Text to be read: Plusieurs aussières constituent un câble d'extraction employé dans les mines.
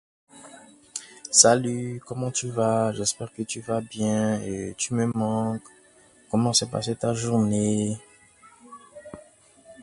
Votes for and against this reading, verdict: 0, 2, rejected